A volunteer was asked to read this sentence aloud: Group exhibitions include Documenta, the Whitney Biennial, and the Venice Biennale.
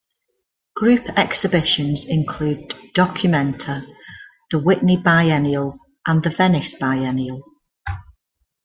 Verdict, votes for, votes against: accepted, 2, 0